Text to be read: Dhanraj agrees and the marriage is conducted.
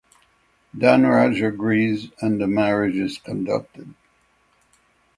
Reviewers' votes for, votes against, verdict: 6, 3, accepted